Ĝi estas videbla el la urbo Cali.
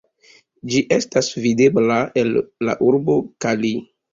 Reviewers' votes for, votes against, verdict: 2, 0, accepted